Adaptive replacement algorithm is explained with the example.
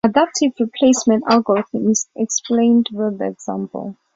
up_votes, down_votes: 2, 0